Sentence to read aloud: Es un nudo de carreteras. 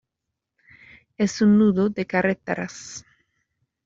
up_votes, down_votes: 1, 2